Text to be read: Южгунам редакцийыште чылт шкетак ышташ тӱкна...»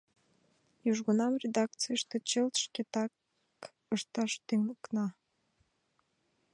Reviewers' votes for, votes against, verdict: 0, 2, rejected